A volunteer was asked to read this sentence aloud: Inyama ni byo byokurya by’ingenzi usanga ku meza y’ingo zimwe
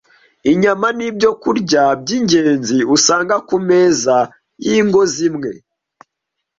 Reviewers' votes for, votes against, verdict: 1, 2, rejected